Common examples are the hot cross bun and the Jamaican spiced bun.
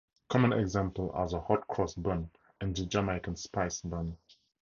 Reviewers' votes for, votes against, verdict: 0, 4, rejected